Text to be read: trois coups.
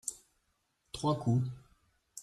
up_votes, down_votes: 2, 0